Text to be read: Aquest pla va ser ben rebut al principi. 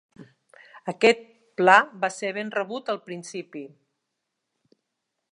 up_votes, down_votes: 3, 0